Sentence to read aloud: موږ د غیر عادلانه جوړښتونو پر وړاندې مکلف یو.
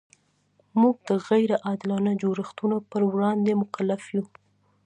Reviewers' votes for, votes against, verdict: 2, 0, accepted